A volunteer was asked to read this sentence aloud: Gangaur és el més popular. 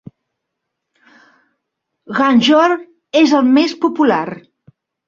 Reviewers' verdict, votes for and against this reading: rejected, 0, 3